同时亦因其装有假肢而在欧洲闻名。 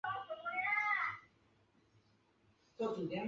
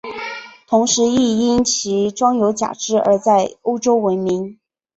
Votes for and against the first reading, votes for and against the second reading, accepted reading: 0, 3, 3, 0, second